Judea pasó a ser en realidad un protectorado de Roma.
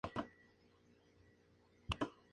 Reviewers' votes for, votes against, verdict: 0, 2, rejected